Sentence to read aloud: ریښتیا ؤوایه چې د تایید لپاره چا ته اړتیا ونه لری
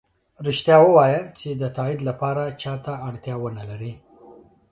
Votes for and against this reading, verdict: 2, 1, accepted